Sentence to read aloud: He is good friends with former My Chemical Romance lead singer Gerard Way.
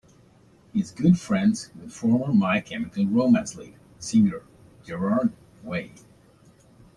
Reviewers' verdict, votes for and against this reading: rejected, 1, 2